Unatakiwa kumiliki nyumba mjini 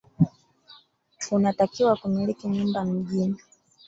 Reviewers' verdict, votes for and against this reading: rejected, 1, 2